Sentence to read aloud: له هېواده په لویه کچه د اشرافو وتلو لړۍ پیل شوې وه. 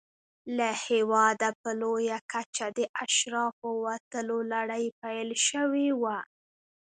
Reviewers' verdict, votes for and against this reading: rejected, 1, 2